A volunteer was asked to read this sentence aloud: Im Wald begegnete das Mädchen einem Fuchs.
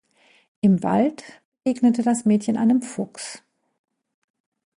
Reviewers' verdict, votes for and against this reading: rejected, 0, 2